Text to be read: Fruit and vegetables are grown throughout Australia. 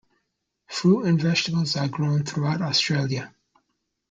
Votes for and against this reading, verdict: 2, 0, accepted